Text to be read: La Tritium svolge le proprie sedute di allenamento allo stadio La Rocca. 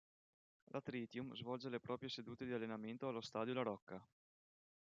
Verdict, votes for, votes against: accepted, 2, 0